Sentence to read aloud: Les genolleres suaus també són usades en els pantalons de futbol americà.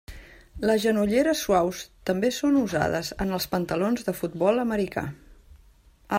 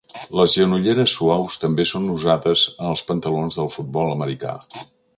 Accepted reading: first